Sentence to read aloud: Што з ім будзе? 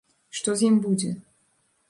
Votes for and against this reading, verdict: 2, 0, accepted